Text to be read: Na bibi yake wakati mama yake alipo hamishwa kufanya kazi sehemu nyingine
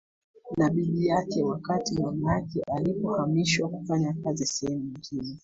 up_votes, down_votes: 2, 1